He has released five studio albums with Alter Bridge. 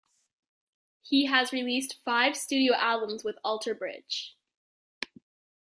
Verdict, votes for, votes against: accepted, 2, 0